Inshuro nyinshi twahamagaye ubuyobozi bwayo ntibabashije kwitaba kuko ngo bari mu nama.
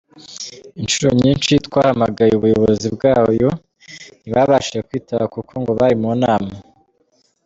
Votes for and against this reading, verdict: 2, 0, accepted